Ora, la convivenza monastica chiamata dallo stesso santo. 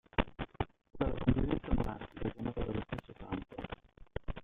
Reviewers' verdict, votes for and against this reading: rejected, 0, 2